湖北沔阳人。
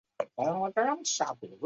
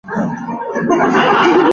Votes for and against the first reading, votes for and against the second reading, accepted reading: 2, 0, 3, 7, first